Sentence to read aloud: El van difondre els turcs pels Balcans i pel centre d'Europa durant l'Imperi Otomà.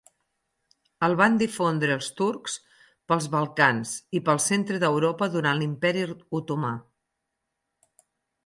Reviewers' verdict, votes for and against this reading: accepted, 6, 0